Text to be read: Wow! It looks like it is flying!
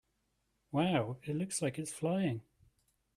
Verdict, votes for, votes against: accepted, 2, 1